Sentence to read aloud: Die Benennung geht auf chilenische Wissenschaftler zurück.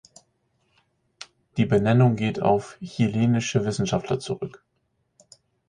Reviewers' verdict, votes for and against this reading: accepted, 4, 0